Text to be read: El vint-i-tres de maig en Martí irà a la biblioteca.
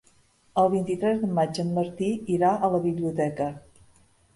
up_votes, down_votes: 2, 0